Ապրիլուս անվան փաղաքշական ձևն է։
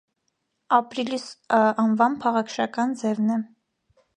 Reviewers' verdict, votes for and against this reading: rejected, 1, 2